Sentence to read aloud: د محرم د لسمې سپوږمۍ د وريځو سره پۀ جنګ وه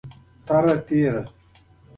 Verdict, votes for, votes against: accepted, 2, 1